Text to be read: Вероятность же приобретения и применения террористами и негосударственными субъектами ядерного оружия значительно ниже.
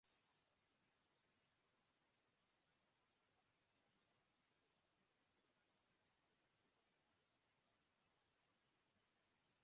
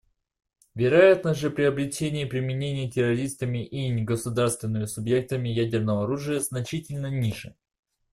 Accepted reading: second